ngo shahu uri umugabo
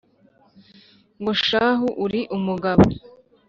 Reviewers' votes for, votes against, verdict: 2, 0, accepted